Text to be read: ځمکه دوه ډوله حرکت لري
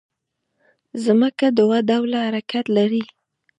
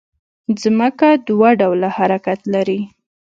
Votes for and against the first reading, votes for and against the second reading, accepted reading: 0, 2, 2, 0, second